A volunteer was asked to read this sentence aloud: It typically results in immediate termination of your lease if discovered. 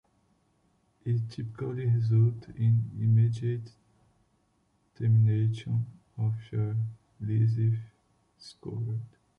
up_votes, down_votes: 1, 2